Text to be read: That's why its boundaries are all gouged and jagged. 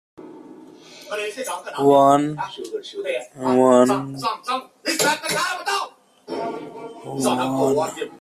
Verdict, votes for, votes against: rejected, 0, 2